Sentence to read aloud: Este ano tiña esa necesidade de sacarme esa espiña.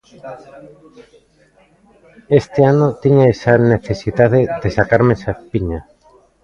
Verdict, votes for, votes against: rejected, 1, 2